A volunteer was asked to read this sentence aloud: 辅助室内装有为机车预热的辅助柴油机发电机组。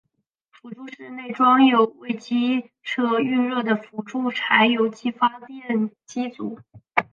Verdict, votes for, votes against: rejected, 1, 2